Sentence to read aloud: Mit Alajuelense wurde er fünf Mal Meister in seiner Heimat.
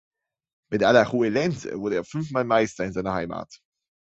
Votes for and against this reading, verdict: 2, 0, accepted